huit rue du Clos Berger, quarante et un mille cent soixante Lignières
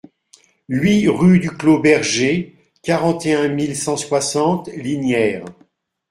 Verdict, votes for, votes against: accepted, 2, 0